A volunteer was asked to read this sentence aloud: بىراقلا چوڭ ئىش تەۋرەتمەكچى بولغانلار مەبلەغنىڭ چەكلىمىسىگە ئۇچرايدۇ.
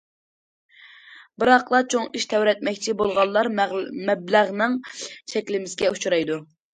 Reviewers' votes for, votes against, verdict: 1, 2, rejected